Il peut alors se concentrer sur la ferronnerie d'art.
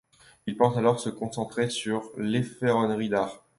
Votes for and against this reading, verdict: 0, 2, rejected